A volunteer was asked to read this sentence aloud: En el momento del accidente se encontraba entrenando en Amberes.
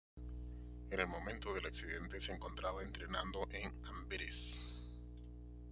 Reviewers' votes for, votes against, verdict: 0, 2, rejected